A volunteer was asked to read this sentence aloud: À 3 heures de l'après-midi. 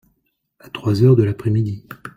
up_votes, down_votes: 0, 2